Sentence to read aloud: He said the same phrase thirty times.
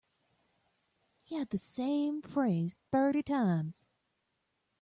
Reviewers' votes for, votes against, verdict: 0, 2, rejected